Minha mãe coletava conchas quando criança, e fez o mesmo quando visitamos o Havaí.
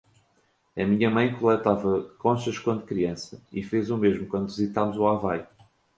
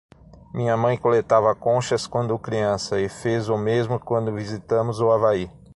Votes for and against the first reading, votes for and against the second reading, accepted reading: 2, 0, 0, 6, first